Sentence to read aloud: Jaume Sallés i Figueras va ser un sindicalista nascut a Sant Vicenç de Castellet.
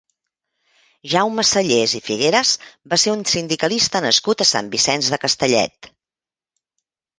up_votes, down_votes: 2, 0